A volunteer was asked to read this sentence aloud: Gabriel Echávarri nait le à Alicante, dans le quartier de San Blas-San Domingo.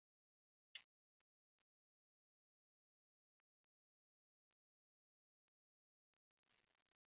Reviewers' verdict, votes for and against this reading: rejected, 0, 3